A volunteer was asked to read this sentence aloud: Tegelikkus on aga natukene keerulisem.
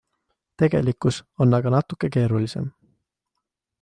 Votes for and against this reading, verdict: 2, 0, accepted